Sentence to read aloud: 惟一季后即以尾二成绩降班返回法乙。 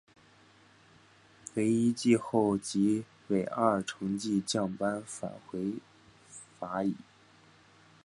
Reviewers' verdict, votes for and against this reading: rejected, 1, 3